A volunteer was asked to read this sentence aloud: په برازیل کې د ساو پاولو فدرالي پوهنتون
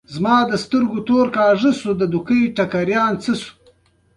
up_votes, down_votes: 2, 0